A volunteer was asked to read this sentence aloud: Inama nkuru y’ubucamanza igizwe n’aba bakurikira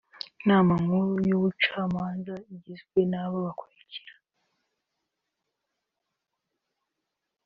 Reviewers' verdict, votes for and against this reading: accepted, 2, 0